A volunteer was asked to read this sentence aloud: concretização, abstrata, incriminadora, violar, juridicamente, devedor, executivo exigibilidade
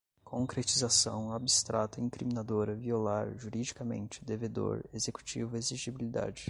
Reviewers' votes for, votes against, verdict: 2, 0, accepted